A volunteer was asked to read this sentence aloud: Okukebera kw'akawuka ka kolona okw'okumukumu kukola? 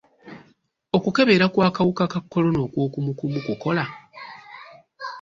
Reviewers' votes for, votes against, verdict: 2, 0, accepted